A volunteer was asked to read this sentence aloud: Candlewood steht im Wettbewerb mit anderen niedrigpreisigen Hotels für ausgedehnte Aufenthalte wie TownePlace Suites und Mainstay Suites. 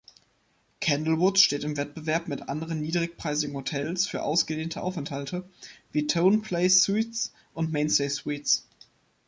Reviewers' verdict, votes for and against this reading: rejected, 0, 2